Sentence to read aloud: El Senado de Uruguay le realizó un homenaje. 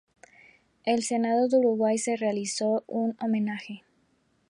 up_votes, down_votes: 0, 2